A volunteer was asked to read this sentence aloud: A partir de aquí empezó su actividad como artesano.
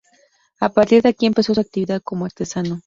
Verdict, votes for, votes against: rejected, 0, 2